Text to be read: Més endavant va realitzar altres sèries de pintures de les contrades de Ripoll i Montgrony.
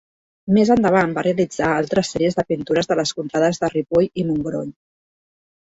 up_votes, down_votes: 1, 2